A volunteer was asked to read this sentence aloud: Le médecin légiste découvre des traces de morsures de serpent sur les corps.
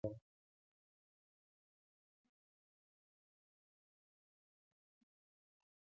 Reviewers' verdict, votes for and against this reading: rejected, 0, 2